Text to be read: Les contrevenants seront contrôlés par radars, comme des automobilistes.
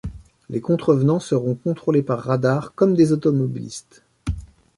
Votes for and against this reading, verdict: 2, 0, accepted